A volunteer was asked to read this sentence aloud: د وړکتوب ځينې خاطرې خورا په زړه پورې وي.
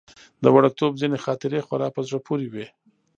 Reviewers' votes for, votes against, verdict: 0, 2, rejected